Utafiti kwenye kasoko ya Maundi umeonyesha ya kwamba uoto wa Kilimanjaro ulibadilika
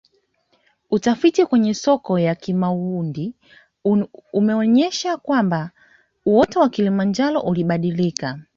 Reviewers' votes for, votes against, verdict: 1, 2, rejected